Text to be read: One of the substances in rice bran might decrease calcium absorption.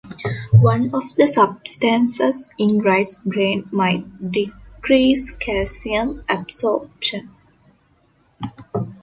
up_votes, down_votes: 2, 0